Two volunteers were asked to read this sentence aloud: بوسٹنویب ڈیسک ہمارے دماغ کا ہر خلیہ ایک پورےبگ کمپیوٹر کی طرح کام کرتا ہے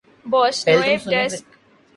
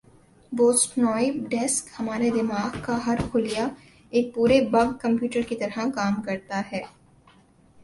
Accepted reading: second